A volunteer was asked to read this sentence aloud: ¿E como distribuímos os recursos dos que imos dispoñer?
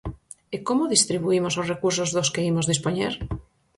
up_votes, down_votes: 4, 0